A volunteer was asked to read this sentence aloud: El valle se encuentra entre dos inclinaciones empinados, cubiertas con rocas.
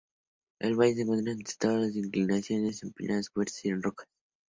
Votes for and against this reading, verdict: 2, 0, accepted